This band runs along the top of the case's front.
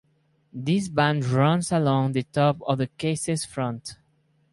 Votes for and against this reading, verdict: 2, 2, rejected